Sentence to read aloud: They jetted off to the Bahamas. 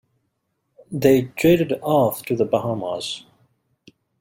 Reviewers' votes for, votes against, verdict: 2, 0, accepted